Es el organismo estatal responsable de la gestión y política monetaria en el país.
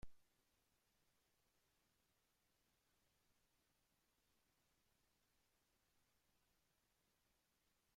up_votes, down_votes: 0, 2